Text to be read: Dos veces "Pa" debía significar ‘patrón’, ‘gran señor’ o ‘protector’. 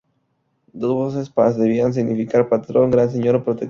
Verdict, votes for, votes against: rejected, 0, 4